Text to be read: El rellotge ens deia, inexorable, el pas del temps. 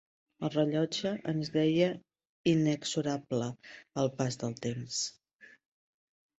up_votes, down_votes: 0, 2